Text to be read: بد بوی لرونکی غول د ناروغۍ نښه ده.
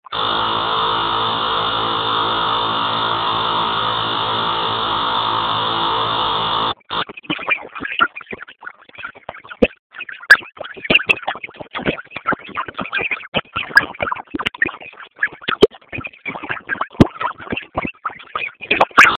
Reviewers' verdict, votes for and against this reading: rejected, 0, 2